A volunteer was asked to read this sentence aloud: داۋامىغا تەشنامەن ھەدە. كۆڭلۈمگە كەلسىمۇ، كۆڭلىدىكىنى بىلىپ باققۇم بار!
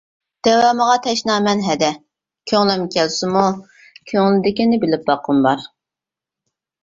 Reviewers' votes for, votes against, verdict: 1, 2, rejected